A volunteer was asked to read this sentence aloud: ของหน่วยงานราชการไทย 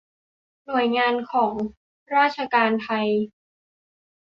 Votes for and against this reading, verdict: 0, 2, rejected